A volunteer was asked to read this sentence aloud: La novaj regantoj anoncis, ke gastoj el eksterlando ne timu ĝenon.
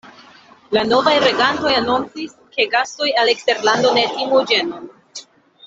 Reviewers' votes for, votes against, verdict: 2, 0, accepted